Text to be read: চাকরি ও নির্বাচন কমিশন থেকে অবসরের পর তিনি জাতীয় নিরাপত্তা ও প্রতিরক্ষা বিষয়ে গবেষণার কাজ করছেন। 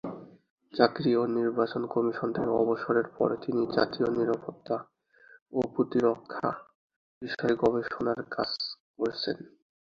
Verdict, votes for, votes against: rejected, 0, 2